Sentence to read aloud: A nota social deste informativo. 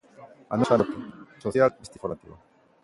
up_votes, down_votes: 0, 2